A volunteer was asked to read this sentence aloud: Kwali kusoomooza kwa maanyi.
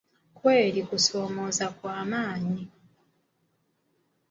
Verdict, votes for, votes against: rejected, 1, 2